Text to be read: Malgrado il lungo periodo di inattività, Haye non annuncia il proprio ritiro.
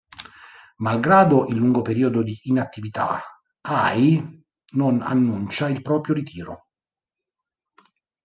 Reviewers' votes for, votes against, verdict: 1, 2, rejected